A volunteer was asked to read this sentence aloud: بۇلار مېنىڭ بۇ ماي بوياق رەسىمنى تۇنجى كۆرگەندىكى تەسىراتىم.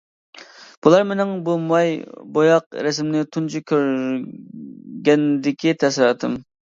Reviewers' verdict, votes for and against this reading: rejected, 0, 2